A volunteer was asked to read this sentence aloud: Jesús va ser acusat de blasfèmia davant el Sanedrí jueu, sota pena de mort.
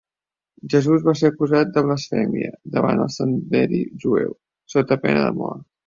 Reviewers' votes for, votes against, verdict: 0, 2, rejected